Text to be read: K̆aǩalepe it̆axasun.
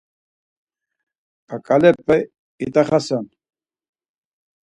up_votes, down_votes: 4, 2